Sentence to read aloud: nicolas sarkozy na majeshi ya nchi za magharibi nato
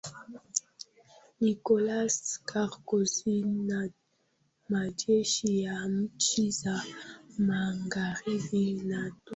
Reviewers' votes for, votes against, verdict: 0, 2, rejected